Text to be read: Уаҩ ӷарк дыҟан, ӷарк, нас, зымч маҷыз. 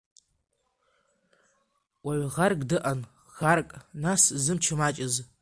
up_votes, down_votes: 2, 0